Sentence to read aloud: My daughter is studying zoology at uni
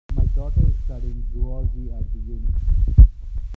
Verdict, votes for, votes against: rejected, 1, 2